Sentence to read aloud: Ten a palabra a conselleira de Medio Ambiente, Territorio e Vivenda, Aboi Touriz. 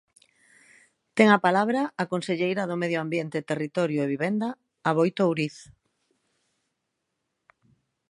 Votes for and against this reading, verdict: 0, 2, rejected